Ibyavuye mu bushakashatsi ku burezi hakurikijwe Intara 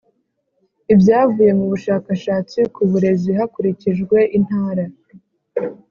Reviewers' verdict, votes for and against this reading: accepted, 4, 0